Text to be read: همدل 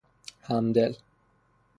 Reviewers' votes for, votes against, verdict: 3, 3, rejected